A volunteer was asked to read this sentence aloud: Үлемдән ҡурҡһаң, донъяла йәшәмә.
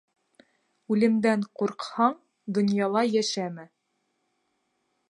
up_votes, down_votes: 2, 0